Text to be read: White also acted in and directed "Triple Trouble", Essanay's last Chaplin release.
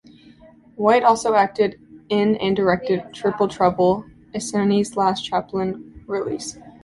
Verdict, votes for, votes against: accepted, 2, 0